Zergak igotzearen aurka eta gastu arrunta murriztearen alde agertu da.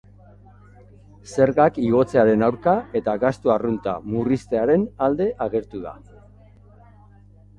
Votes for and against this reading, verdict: 2, 0, accepted